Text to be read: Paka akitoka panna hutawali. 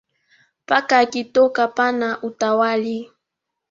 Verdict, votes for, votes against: accepted, 2, 1